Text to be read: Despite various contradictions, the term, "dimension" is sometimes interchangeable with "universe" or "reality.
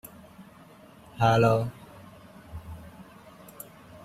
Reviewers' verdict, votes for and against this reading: rejected, 0, 2